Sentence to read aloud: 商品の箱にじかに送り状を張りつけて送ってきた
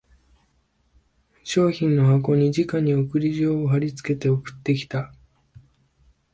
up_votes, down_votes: 2, 0